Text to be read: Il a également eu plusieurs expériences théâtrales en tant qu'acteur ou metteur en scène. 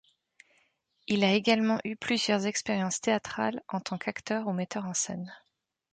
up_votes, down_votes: 3, 0